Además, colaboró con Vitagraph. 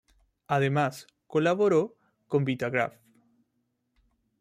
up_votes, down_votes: 2, 0